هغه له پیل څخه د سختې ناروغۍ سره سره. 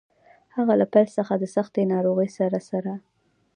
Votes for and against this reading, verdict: 2, 0, accepted